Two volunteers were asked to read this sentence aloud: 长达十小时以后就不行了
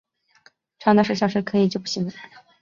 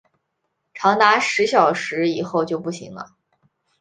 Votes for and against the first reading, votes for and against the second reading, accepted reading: 0, 2, 3, 1, second